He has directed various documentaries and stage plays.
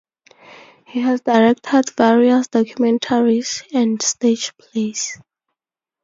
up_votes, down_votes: 4, 0